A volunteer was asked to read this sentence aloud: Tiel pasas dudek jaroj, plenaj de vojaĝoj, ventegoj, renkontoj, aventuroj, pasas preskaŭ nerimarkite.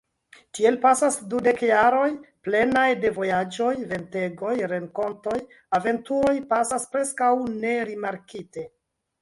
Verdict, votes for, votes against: rejected, 1, 2